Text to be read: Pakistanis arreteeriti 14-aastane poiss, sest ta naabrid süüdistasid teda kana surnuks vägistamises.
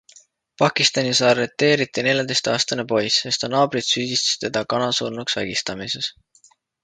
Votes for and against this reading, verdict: 0, 2, rejected